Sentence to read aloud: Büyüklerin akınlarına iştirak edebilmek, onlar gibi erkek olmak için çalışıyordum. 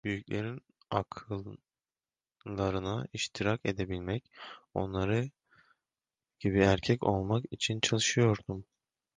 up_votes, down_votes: 0, 2